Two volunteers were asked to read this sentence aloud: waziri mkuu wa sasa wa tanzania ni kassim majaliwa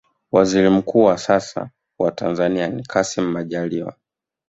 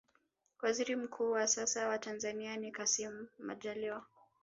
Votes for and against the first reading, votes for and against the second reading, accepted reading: 2, 1, 0, 2, first